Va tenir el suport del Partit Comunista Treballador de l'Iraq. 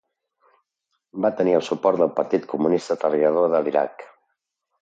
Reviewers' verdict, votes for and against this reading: accepted, 2, 0